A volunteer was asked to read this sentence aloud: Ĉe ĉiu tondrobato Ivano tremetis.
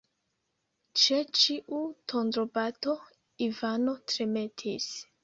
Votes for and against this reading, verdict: 1, 2, rejected